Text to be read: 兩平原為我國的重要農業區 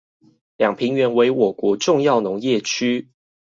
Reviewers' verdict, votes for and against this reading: rejected, 2, 2